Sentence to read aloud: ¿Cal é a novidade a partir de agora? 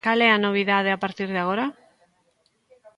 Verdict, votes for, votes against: accepted, 2, 1